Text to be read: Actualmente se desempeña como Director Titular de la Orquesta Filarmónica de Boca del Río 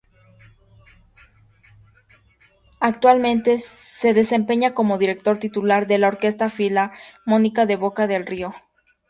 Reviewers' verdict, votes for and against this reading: accepted, 2, 0